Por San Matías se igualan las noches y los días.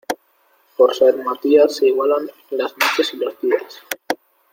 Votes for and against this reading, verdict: 2, 1, accepted